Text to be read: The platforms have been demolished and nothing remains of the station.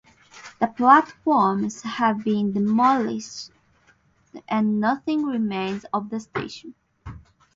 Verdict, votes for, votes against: accepted, 4, 0